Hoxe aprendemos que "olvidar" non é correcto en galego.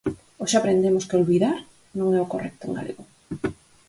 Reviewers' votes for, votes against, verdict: 2, 4, rejected